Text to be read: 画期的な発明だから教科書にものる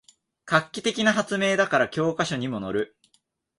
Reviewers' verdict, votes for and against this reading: accepted, 2, 0